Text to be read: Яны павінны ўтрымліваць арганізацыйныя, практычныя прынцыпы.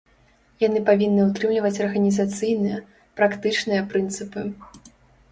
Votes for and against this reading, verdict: 2, 0, accepted